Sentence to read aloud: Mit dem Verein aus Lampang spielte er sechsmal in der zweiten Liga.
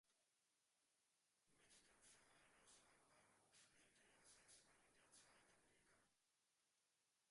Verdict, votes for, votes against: rejected, 0, 4